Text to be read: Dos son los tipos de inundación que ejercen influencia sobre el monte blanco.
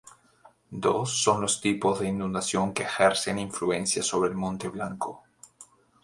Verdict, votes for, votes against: accepted, 4, 0